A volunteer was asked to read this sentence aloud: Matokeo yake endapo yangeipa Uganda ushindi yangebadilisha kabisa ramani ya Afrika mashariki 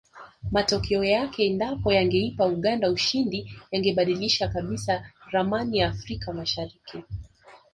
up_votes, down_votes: 2, 0